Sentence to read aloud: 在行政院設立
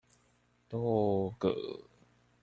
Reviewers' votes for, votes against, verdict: 0, 3, rejected